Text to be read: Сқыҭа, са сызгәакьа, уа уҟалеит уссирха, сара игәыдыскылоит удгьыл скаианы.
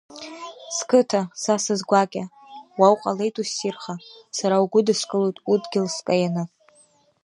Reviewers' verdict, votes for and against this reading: rejected, 0, 2